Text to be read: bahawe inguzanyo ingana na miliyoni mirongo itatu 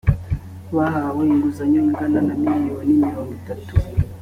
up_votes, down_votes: 4, 0